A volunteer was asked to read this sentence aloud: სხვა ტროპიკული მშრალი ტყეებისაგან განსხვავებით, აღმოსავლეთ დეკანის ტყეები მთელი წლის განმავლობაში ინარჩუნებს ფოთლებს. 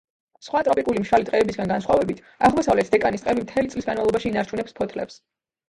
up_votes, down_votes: 0, 2